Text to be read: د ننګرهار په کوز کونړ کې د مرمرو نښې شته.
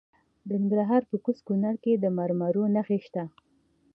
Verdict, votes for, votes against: accepted, 2, 0